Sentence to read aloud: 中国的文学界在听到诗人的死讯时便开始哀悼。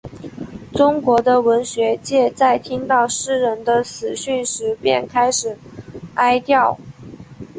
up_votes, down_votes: 1, 2